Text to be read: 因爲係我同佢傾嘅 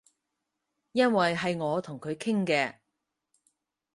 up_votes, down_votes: 4, 0